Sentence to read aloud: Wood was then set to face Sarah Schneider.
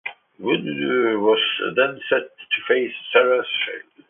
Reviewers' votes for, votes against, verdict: 0, 2, rejected